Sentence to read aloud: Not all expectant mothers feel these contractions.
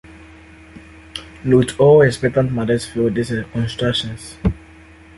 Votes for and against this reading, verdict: 0, 2, rejected